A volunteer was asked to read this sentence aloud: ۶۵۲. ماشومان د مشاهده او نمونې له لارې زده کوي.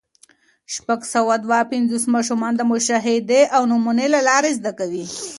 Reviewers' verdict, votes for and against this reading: rejected, 0, 2